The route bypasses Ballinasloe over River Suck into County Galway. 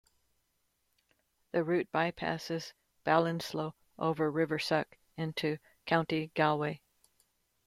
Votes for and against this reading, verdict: 8, 1, accepted